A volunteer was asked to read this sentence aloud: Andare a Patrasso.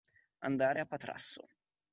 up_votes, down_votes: 2, 0